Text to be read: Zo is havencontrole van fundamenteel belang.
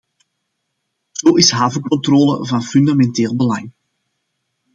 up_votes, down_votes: 2, 0